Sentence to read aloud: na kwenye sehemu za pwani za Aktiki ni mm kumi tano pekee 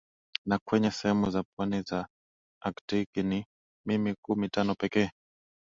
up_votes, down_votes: 2, 1